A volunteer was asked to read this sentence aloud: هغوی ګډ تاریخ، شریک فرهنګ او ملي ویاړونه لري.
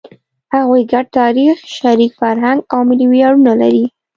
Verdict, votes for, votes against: accepted, 2, 0